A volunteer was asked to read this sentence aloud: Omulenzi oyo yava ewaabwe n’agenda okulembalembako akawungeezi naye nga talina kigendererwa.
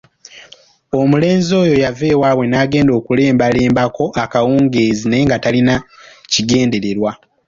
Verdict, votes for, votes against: accepted, 2, 1